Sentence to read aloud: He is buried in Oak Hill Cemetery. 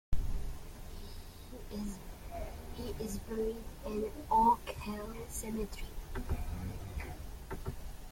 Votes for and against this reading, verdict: 1, 2, rejected